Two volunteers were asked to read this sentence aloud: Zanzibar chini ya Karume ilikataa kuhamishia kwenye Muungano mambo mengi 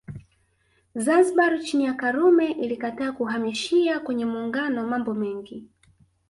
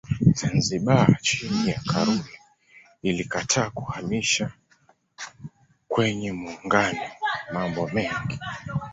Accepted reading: first